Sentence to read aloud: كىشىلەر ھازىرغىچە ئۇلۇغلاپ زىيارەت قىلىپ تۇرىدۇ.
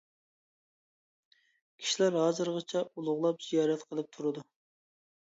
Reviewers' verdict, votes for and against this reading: accepted, 2, 0